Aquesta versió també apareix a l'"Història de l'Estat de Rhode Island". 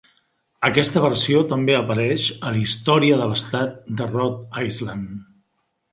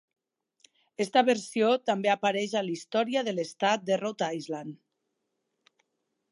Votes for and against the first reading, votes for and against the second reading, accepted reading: 3, 0, 0, 2, first